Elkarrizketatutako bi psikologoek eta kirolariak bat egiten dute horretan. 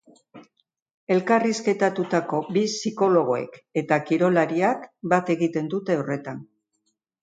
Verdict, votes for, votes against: accepted, 3, 0